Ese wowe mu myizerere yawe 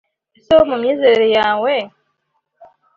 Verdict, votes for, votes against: accepted, 2, 0